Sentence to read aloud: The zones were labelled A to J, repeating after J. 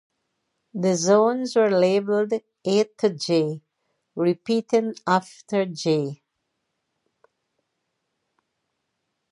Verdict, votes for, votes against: accepted, 2, 0